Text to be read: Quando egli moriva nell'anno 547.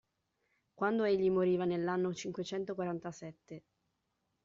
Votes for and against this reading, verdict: 0, 2, rejected